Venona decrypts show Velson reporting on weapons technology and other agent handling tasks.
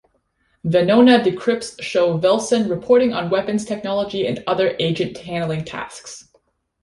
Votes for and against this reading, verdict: 2, 0, accepted